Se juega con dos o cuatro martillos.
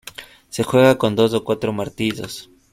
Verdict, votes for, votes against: rejected, 0, 2